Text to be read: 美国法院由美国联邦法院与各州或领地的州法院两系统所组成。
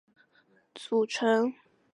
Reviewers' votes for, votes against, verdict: 0, 3, rejected